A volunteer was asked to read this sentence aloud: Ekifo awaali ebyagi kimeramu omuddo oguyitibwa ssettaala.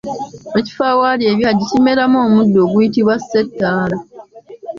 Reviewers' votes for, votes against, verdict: 2, 0, accepted